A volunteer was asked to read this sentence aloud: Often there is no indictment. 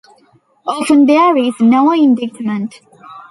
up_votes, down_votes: 0, 2